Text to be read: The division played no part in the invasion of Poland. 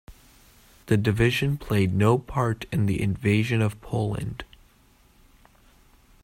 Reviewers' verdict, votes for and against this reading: accepted, 2, 0